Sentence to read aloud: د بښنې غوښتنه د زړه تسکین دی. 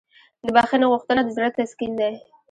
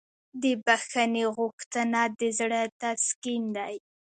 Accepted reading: second